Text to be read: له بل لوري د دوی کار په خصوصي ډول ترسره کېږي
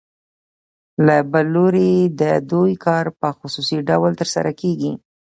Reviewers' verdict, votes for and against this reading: accepted, 2, 0